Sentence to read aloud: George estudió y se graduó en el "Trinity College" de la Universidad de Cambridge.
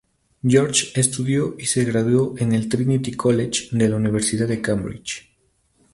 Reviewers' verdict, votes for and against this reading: accepted, 2, 0